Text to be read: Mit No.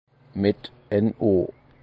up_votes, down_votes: 0, 4